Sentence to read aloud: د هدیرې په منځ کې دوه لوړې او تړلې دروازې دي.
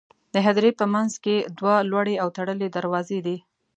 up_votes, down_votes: 2, 0